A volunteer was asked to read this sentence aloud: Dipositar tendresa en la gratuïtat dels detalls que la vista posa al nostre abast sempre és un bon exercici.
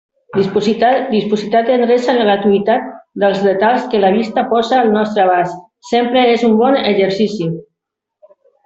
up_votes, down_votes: 1, 2